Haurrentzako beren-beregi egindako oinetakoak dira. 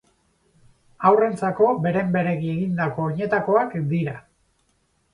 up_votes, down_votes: 4, 0